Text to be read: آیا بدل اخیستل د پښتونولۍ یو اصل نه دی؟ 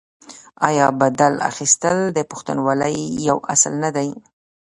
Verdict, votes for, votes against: rejected, 1, 3